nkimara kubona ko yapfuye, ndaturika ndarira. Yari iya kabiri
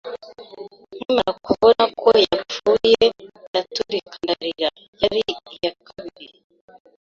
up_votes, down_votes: 2, 1